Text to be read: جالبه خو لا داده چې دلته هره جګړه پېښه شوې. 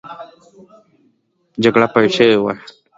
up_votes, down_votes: 2, 0